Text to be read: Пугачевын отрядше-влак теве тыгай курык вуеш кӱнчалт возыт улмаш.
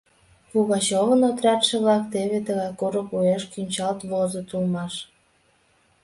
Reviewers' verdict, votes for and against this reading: accepted, 2, 0